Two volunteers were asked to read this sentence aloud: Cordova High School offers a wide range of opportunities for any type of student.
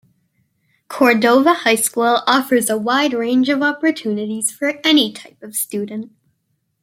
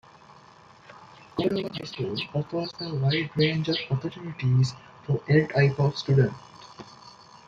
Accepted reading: first